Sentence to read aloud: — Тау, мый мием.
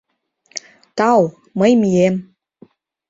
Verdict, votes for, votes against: accepted, 2, 0